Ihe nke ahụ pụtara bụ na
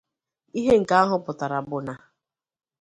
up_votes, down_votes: 2, 0